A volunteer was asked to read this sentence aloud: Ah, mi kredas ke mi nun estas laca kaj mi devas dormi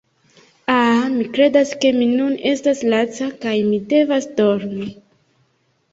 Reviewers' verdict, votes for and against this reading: accepted, 2, 0